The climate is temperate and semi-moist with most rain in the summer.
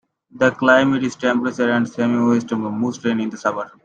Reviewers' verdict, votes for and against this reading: accepted, 2, 1